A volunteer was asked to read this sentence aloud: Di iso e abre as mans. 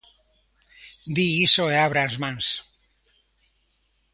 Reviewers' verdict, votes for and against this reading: accepted, 2, 0